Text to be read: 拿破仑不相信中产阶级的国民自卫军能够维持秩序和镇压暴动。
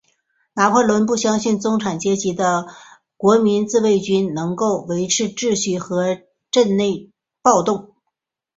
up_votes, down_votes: 1, 2